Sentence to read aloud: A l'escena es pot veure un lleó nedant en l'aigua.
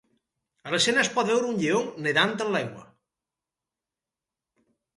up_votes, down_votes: 4, 0